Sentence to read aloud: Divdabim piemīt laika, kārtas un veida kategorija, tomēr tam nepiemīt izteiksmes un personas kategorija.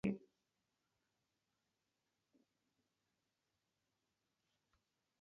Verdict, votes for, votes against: rejected, 0, 2